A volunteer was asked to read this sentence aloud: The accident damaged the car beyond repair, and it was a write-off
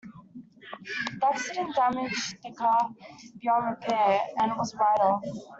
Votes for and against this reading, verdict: 0, 2, rejected